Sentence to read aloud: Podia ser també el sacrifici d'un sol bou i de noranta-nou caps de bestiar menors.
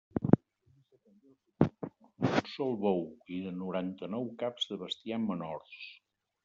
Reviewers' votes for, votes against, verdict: 0, 2, rejected